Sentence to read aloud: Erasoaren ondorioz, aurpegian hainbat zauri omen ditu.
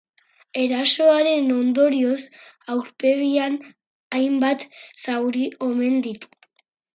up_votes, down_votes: 2, 4